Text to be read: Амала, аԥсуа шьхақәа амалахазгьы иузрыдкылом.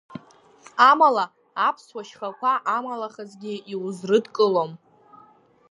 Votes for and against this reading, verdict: 1, 2, rejected